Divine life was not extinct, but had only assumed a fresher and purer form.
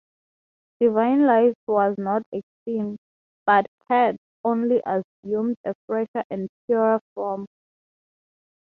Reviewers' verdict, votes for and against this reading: accepted, 6, 3